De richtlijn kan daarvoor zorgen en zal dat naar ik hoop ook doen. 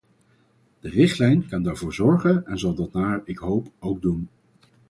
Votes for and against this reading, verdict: 4, 0, accepted